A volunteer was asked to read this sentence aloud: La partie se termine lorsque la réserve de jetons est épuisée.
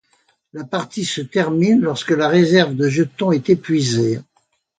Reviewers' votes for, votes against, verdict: 2, 0, accepted